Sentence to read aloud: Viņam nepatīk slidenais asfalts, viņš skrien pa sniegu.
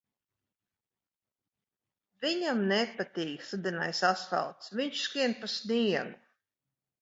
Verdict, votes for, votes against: rejected, 2, 4